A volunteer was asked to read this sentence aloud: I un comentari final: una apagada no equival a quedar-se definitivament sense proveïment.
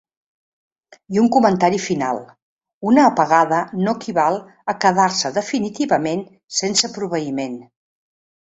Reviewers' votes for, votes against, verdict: 3, 0, accepted